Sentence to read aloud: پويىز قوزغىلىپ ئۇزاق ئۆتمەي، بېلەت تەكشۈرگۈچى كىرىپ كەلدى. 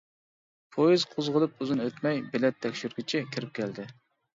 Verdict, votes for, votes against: rejected, 1, 2